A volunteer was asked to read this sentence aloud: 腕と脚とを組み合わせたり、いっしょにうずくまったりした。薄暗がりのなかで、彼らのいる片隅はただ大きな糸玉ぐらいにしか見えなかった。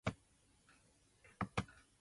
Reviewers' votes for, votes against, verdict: 1, 2, rejected